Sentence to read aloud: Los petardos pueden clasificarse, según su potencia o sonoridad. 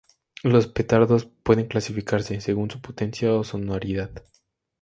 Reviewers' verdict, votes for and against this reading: accepted, 4, 0